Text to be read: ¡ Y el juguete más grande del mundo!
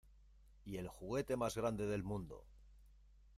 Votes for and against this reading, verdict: 1, 2, rejected